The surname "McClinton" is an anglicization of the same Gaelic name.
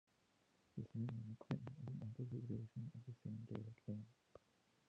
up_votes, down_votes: 0, 2